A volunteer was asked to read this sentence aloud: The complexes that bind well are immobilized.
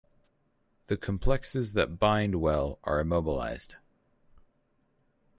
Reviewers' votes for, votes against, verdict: 4, 0, accepted